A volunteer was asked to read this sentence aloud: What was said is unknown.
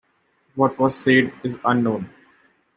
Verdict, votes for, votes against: accepted, 2, 0